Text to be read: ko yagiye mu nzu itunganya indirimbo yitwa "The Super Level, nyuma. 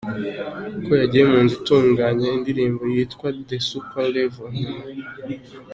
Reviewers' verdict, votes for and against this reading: accepted, 2, 1